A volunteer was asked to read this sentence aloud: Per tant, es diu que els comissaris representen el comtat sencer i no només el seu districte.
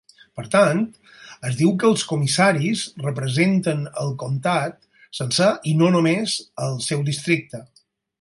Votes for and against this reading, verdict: 4, 0, accepted